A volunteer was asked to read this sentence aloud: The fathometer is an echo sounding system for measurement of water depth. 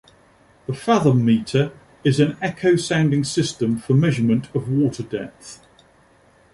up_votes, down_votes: 2, 0